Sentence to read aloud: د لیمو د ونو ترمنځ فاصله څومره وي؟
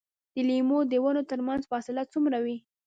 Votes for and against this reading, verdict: 1, 2, rejected